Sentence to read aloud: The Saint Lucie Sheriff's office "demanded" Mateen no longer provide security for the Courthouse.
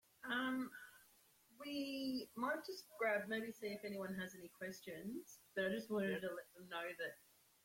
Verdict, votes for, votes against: rejected, 0, 2